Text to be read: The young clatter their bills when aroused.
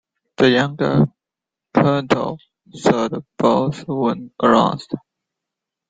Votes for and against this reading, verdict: 2, 1, accepted